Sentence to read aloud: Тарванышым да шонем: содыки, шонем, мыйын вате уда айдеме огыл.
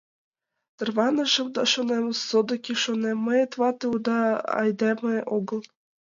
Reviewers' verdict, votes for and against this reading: rejected, 0, 2